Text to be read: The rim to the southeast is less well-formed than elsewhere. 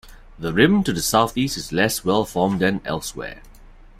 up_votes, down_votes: 2, 0